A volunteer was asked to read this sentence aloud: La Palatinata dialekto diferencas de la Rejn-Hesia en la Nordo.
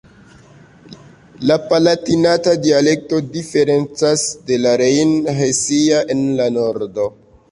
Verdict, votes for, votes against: accepted, 2, 0